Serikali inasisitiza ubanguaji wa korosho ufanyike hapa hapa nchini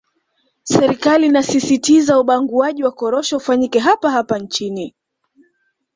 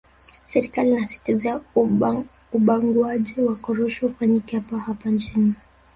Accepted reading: first